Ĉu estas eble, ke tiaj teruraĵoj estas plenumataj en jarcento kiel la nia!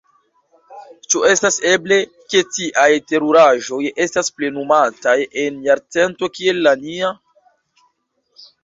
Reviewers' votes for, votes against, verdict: 0, 2, rejected